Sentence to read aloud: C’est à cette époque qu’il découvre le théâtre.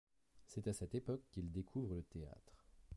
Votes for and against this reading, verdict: 2, 0, accepted